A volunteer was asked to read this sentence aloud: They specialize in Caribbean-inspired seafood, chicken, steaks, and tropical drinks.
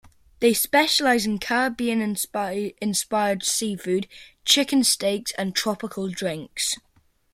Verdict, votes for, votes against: rejected, 0, 2